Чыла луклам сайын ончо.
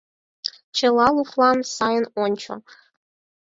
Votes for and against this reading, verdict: 4, 0, accepted